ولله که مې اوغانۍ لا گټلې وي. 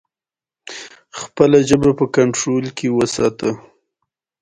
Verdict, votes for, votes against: accepted, 2, 0